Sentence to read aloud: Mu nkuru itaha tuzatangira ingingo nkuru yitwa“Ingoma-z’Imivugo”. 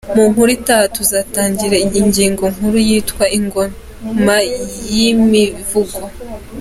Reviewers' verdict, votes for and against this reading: rejected, 0, 3